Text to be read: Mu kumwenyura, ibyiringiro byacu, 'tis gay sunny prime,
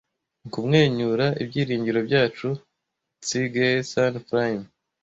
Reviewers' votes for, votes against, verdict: 1, 2, rejected